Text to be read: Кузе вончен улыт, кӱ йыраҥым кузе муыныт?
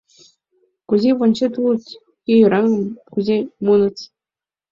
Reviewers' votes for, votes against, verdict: 0, 2, rejected